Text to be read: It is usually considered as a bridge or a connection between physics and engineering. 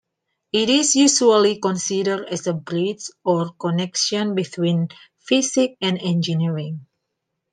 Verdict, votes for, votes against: rejected, 1, 2